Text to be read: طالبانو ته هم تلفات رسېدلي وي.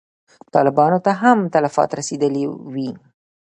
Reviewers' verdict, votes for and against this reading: rejected, 0, 2